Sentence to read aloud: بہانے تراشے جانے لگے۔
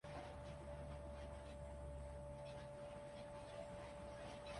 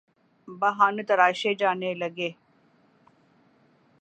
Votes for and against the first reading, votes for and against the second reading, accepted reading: 0, 2, 5, 0, second